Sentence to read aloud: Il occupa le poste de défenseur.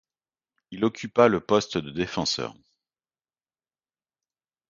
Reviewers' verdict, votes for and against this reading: accepted, 2, 0